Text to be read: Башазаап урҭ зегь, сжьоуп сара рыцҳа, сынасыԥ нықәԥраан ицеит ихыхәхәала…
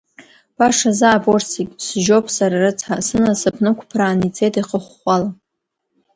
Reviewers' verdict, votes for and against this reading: rejected, 1, 2